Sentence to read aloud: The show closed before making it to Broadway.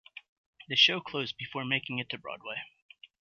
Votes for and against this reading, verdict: 2, 0, accepted